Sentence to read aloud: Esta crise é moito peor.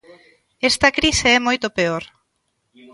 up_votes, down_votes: 2, 0